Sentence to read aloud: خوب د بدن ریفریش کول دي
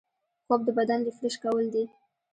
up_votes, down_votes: 1, 2